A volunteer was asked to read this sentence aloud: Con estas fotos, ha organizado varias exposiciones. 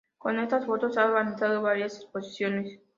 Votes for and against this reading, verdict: 2, 0, accepted